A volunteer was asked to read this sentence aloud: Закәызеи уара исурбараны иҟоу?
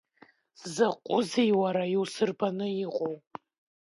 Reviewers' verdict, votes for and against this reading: rejected, 0, 2